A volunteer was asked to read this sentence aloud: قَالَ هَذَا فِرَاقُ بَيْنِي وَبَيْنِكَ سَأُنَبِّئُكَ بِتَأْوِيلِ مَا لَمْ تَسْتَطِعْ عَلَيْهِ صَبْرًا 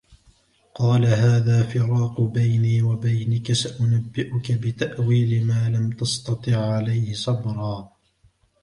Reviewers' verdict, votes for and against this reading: accepted, 2, 0